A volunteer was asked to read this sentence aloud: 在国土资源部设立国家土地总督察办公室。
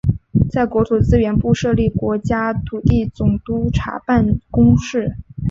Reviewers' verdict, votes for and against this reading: accepted, 2, 1